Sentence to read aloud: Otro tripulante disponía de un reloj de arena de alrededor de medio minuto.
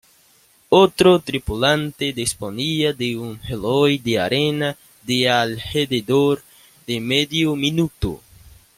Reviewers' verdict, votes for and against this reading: accepted, 2, 1